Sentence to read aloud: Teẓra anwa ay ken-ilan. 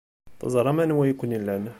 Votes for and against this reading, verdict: 1, 2, rejected